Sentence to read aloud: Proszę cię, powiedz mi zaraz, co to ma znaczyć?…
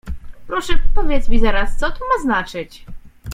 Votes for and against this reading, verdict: 1, 2, rejected